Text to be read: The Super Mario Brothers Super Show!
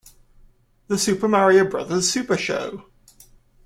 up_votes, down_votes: 2, 0